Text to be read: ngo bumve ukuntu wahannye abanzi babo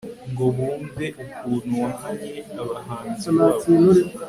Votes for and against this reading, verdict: 2, 0, accepted